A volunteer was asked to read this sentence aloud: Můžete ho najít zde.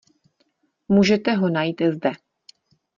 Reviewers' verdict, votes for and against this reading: accepted, 2, 0